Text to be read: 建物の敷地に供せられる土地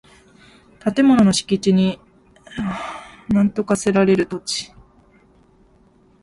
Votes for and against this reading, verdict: 1, 2, rejected